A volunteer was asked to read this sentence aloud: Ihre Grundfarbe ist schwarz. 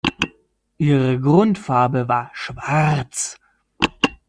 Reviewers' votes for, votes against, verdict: 1, 2, rejected